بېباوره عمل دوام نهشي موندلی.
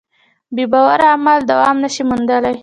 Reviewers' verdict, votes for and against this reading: accepted, 2, 1